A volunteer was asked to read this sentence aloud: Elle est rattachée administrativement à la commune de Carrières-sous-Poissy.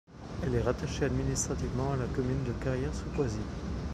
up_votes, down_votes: 0, 2